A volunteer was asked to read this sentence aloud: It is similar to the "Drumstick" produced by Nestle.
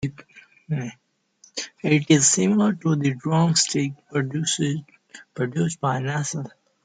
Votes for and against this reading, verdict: 0, 2, rejected